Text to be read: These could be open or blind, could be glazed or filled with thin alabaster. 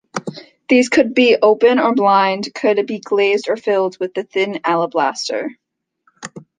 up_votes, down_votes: 0, 2